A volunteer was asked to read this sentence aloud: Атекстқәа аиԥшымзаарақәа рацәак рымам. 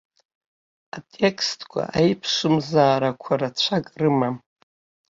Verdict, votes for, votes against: accepted, 2, 0